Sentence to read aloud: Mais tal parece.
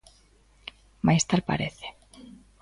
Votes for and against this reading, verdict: 2, 0, accepted